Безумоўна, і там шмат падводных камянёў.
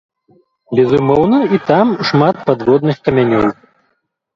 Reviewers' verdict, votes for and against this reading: rejected, 0, 2